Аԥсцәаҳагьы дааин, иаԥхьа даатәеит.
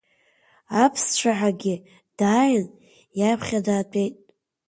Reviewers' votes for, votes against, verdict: 2, 1, accepted